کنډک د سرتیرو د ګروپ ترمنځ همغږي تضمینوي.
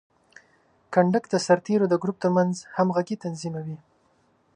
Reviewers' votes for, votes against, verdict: 3, 1, accepted